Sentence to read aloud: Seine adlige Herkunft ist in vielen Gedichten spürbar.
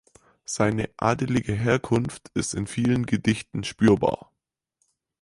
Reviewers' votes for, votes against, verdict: 2, 4, rejected